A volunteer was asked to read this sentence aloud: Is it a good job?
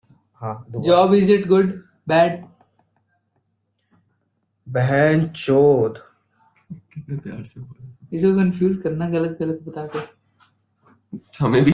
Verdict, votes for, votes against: rejected, 0, 2